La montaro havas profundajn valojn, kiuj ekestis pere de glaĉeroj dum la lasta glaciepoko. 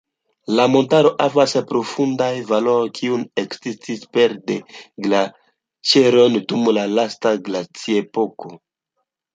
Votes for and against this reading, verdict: 2, 0, accepted